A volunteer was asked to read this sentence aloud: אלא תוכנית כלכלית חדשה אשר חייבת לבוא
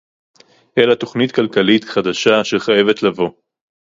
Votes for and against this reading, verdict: 4, 0, accepted